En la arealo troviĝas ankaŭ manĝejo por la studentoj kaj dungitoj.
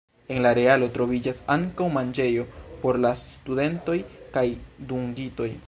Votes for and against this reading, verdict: 1, 2, rejected